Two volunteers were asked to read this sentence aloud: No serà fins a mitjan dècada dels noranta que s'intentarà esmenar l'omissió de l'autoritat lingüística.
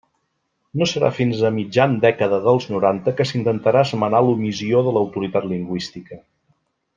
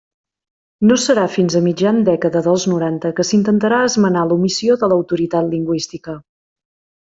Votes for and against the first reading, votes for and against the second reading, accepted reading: 1, 2, 3, 0, second